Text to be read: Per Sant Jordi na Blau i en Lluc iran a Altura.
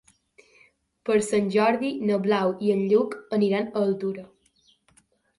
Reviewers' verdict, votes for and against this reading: rejected, 0, 3